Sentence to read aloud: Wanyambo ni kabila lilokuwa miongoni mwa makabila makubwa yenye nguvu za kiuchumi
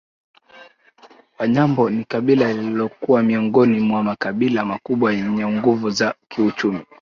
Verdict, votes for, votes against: rejected, 0, 2